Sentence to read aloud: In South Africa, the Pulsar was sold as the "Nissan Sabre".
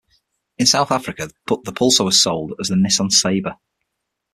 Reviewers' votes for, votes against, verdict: 6, 3, accepted